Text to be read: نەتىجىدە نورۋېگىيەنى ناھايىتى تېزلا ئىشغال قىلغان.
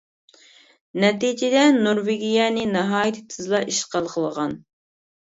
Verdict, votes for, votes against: rejected, 1, 2